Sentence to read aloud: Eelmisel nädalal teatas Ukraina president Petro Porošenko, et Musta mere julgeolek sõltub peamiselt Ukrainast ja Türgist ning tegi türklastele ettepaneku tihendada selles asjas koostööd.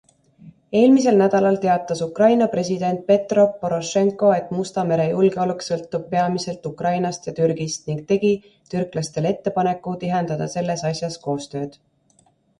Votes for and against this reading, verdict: 2, 0, accepted